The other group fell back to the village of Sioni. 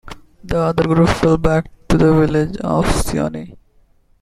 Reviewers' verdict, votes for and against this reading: accepted, 2, 1